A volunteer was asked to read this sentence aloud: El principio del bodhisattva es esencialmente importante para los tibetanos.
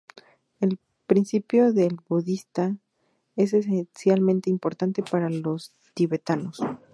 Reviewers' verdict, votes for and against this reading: rejected, 2, 2